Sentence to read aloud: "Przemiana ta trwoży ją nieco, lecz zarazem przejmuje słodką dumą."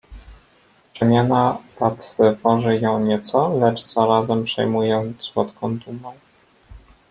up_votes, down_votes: 0, 2